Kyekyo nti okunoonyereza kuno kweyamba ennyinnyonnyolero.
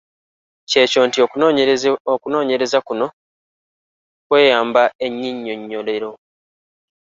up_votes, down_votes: 1, 2